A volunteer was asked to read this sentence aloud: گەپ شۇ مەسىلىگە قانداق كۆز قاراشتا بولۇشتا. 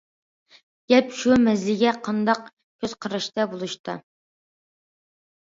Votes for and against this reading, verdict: 2, 0, accepted